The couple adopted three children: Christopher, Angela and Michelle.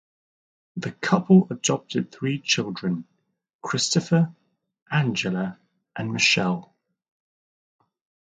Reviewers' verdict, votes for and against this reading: accepted, 2, 0